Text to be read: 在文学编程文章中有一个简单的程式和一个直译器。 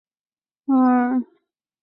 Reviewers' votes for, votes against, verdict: 0, 3, rejected